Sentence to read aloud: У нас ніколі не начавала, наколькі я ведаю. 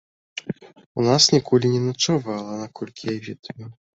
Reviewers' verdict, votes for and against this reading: accepted, 2, 1